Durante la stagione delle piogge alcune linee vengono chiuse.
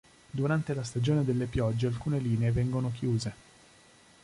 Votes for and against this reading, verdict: 2, 0, accepted